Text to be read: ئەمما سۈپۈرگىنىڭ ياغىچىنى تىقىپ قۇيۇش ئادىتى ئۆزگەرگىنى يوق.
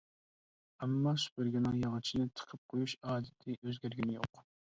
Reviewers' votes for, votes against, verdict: 2, 0, accepted